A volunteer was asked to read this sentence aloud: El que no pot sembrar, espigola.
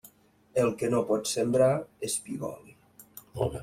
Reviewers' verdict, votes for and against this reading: rejected, 2, 3